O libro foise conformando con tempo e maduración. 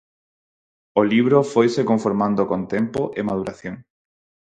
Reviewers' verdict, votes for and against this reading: accepted, 4, 0